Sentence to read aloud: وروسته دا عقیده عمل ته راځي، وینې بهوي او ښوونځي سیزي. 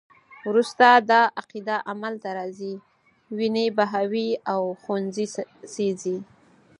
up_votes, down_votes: 4, 0